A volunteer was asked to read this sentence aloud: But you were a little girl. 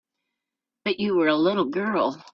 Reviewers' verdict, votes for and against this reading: accepted, 3, 1